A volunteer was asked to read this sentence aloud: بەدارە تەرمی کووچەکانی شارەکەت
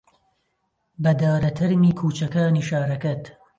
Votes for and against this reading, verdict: 2, 0, accepted